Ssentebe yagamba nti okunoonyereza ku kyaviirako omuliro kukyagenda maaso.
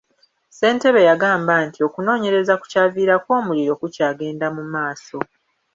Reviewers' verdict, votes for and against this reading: accepted, 2, 0